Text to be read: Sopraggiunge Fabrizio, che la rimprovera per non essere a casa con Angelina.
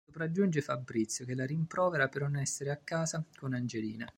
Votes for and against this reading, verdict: 0, 2, rejected